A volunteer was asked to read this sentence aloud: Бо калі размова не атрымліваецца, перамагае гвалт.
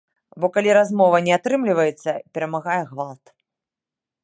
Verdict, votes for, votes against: accepted, 3, 0